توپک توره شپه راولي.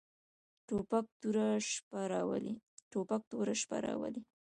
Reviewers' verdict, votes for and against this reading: rejected, 1, 2